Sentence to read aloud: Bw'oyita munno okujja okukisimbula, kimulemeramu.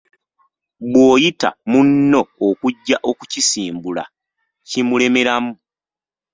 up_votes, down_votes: 1, 2